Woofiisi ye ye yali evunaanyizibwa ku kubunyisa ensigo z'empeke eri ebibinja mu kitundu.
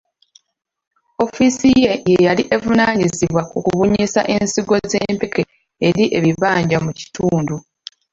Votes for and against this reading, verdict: 1, 2, rejected